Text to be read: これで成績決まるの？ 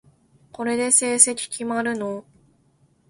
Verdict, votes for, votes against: accepted, 2, 0